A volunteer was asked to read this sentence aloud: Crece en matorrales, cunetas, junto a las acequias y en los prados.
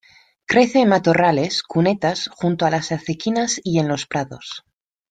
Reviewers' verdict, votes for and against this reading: rejected, 0, 2